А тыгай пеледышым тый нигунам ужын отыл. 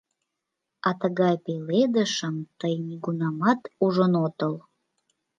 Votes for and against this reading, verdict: 1, 2, rejected